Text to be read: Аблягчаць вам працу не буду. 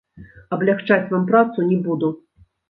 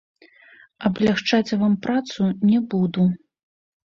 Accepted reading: first